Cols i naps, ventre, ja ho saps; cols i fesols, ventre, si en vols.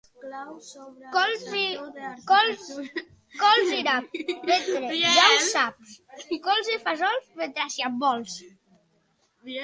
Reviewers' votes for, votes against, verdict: 0, 2, rejected